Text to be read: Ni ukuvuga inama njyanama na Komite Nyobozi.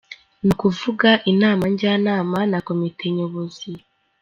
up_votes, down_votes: 3, 0